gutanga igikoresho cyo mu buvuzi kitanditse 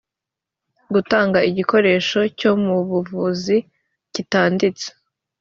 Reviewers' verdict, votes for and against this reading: accepted, 2, 0